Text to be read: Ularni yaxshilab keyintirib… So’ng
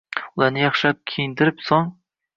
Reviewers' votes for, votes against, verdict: 0, 2, rejected